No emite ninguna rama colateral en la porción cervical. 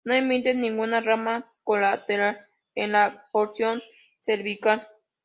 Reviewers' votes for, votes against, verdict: 1, 2, rejected